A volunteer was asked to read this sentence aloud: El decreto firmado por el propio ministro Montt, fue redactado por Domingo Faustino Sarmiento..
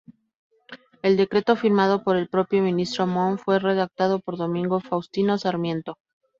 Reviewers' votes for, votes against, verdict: 2, 2, rejected